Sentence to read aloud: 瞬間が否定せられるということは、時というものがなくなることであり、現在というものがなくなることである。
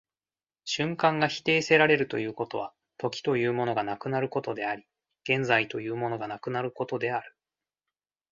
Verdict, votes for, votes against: accepted, 2, 0